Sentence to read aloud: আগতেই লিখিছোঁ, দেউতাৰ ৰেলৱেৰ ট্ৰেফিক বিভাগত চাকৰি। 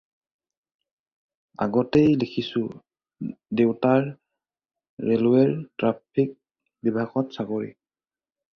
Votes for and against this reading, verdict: 2, 2, rejected